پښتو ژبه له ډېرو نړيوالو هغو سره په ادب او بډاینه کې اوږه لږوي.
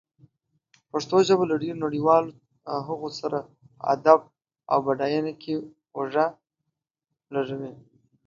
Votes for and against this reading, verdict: 0, 2, rejected